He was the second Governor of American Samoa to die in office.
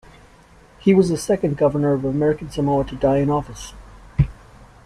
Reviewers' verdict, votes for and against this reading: accepted, 2, 0